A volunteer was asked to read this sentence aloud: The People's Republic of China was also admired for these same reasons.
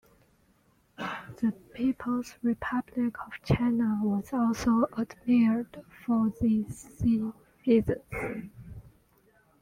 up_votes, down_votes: 1, 2